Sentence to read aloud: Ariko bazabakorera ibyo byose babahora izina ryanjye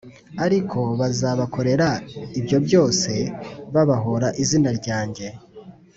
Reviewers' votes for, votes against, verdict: 2, 0, accepted